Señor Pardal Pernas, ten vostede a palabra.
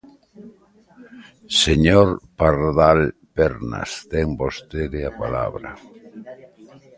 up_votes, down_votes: 2, 0